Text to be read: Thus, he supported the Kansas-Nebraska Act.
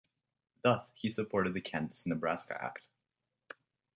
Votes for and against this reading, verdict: 2, 0, accepted